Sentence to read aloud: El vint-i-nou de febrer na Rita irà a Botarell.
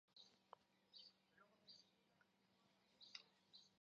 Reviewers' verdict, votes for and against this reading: rejected, 0, 2